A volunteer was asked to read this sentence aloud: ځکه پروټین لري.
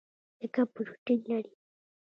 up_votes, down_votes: 1, 2